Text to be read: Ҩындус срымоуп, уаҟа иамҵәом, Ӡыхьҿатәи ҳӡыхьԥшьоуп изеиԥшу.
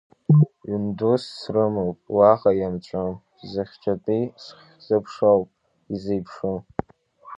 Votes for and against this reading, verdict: 0, 2, rejected